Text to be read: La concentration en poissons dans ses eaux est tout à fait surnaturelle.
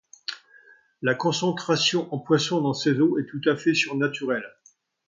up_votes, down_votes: 2, 0